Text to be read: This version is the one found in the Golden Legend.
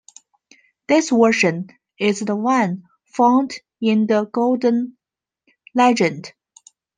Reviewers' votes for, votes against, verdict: 0, 2, rejected